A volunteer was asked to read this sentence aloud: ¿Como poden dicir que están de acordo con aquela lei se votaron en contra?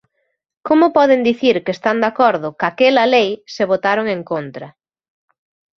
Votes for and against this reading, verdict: 1, 2, rejected